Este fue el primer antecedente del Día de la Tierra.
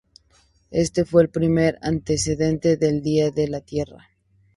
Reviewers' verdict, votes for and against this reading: accepted, 4, 0